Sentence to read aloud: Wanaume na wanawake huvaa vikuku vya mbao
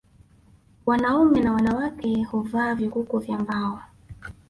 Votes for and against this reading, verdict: 1, 2, rejected